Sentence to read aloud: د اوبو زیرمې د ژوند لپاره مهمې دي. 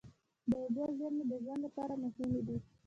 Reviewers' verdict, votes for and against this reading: accepted, 2, 0